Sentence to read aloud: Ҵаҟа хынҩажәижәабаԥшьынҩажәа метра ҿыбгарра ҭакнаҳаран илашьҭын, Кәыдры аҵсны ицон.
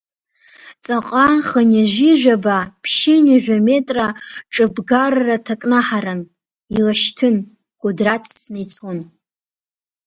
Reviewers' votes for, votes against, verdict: 1, 2, rejected